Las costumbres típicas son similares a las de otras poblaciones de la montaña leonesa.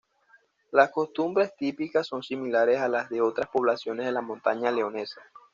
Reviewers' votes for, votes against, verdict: 2, 0, accepted